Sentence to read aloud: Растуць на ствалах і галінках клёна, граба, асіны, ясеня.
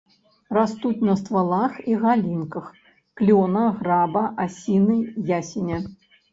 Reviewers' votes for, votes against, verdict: 2, 0, accepted